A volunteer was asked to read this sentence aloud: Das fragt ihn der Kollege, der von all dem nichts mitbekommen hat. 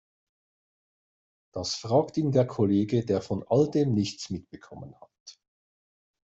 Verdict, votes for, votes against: accepted, 2, 0